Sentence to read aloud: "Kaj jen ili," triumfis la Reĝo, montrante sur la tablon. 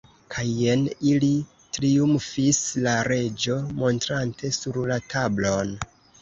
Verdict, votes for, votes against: accepted, 2, 0